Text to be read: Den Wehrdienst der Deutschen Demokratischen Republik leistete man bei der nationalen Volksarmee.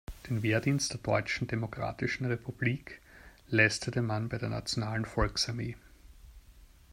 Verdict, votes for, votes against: accepted, 2, 0